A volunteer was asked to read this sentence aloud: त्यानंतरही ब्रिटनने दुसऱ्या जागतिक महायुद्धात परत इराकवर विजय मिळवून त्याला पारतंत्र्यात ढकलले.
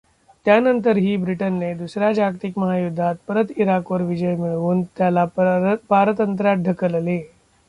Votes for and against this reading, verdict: 0, 2, rejected